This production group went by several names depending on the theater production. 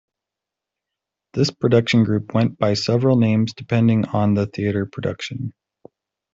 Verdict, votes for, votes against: accepted, 2, 0